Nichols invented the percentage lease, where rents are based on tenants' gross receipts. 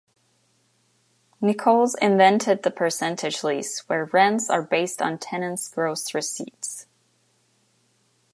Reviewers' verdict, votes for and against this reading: accepted, 2, 0